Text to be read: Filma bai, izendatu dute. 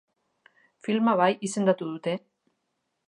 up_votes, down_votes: 2, 0